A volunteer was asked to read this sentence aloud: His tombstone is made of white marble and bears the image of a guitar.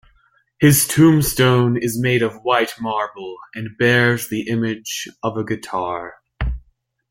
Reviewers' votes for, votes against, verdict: 2, 0, accepted